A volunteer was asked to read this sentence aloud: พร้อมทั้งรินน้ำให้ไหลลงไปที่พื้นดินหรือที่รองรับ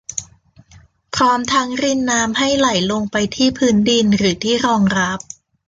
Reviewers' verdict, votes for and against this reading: accepted, 2, 0